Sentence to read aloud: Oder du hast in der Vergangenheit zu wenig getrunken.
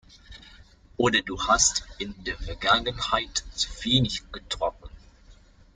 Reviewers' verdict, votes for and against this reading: rejected, 1, 2